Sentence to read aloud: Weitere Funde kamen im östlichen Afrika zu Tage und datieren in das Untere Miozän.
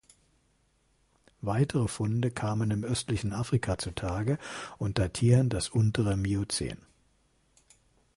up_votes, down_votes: 1, 2